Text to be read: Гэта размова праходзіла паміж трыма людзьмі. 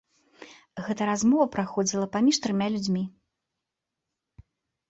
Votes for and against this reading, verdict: 0, 2, rejected